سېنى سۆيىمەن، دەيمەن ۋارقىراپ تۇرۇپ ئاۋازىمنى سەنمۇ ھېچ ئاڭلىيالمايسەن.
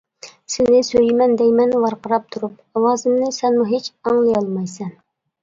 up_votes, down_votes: 2, 0